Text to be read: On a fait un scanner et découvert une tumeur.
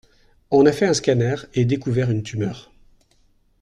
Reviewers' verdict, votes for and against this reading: accepted, 2, 0